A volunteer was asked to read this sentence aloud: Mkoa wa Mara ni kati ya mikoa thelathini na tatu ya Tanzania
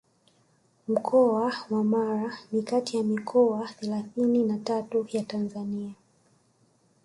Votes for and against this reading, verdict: 1, 2, rejected